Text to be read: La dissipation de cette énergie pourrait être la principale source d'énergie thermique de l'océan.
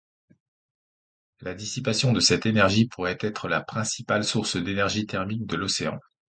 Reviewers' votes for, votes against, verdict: 2, 0, accepted